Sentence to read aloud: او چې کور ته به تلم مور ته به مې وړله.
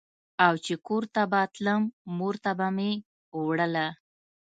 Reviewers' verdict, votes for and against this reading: accepted, 2, 0